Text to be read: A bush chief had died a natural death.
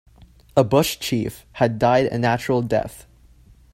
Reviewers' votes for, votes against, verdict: 2, 0, accepted